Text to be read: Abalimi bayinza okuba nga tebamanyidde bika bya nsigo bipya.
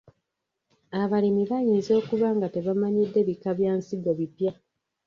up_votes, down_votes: 1, 2